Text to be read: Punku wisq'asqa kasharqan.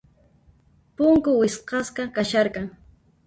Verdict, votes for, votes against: rejected, 0, 2